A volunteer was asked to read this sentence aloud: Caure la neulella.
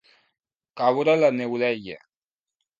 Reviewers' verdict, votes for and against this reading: rejected, 1, 2